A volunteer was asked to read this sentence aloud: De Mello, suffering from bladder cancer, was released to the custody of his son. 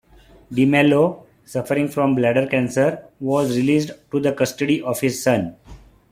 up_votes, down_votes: 2, 0